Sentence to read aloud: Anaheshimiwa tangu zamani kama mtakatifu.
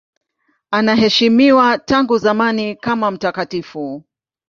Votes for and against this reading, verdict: 2, 0, accepted